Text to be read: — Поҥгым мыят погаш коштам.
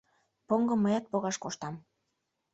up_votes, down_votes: 2, 0